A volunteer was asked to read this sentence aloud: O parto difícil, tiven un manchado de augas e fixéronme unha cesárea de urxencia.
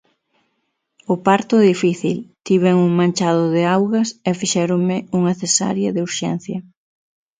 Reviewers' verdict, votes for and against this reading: accepted, 6, 0